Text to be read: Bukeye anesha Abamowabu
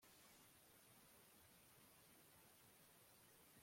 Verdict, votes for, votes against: rejected, 0, 2